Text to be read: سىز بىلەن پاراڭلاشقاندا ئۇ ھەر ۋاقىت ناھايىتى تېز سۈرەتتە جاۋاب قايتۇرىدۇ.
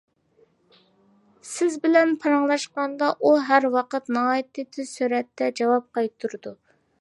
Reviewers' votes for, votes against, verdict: 2, 0, accepted